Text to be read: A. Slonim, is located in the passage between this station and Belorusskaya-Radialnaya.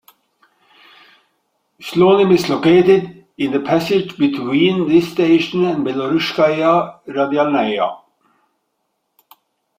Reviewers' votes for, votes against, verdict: 1, 2, rejected